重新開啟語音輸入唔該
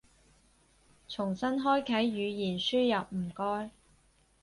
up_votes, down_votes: 2, 6